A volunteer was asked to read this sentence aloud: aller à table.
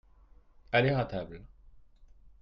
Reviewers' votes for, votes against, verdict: 2, 0, accepted